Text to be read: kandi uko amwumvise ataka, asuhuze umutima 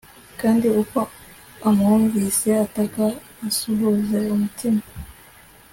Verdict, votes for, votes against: accepted, 2, 0